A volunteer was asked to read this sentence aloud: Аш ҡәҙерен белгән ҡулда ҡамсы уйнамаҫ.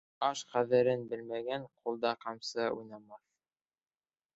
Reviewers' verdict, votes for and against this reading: rejected, 1, 2